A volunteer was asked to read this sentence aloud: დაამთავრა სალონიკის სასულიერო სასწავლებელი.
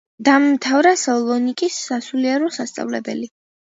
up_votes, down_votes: 2, 1